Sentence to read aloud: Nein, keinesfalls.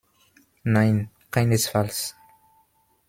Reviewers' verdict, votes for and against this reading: accepted, 2, 0